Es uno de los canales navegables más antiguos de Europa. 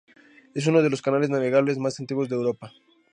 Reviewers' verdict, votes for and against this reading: rejected, 0, 2